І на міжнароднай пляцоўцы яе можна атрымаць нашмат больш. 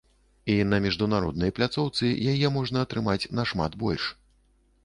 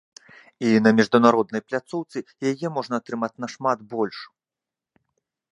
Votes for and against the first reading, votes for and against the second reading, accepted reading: 0, 2, 2, 1, second